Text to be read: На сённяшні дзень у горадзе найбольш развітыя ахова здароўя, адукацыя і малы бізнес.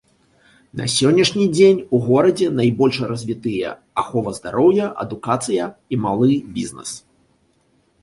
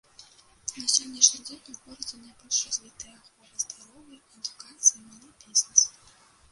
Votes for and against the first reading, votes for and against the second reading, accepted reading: 2, 1, 1, 2, first